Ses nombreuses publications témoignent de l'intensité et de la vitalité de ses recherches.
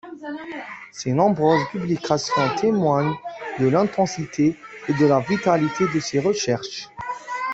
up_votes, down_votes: 0, 2